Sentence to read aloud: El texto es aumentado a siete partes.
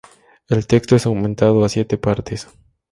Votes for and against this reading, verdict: 2, 0, accepted